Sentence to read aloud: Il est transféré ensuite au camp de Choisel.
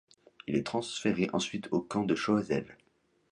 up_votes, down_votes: 2, 0